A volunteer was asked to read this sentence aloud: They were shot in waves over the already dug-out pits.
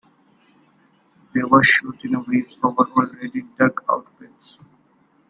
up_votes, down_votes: 1, 2